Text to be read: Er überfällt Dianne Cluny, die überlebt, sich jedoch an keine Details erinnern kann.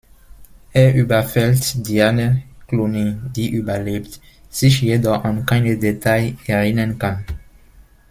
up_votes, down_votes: 1, 2